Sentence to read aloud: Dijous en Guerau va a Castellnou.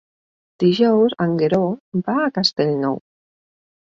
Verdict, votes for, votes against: rejected, 0, 2